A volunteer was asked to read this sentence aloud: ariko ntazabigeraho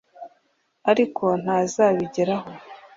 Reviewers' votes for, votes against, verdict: 2, 0, accepted